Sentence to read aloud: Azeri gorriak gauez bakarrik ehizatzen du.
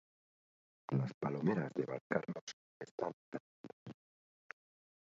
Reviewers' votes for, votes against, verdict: 0, 2, rejected